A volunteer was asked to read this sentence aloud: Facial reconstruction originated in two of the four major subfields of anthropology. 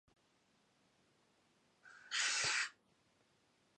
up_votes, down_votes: 0, 2